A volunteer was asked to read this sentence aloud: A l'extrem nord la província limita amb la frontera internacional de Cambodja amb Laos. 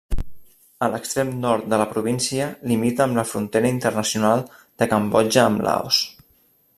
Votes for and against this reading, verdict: 1, 2, rejected